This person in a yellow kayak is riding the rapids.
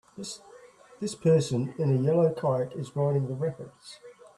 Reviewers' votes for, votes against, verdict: 0, 2, rejected